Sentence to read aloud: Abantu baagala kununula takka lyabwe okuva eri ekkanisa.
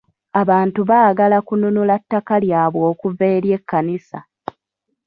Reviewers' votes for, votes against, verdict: 2, 0, accepted